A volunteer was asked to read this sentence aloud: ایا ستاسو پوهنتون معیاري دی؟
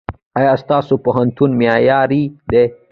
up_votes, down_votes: 1, 2